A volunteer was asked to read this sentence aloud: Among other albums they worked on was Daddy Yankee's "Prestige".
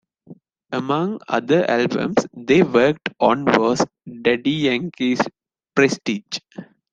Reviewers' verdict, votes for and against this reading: accepted, 2, 0